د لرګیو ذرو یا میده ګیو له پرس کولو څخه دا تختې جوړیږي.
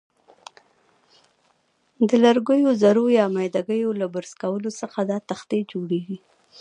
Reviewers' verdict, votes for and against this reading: rejected, 1, 2